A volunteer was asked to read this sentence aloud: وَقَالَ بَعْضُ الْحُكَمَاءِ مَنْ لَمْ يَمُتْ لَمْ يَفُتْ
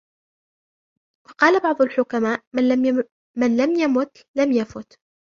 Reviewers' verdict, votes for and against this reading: rejected, 0, 2